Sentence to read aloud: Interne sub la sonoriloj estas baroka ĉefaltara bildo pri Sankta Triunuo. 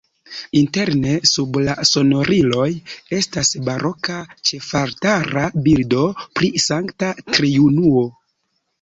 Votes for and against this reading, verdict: 0, 2, rejected